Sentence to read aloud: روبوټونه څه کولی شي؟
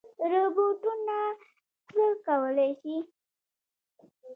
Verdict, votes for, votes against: rejected, 1, 2